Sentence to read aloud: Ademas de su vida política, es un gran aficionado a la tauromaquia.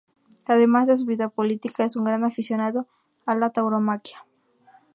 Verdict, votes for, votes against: rejected, 0, 2